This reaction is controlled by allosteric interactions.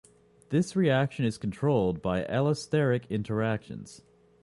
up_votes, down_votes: 2, 0